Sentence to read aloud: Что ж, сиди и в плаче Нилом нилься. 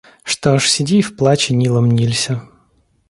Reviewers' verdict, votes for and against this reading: accepted, 2, 0